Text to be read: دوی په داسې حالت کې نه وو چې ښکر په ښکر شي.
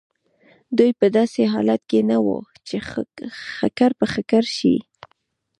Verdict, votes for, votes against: rejected, 1, 2